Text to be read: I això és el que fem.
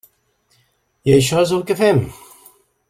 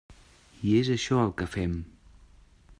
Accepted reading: first